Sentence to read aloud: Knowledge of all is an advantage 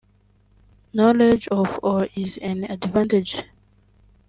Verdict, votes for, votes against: rejected, 1, 2